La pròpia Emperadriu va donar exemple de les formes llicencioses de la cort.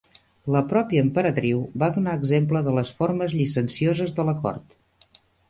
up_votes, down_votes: 2, 0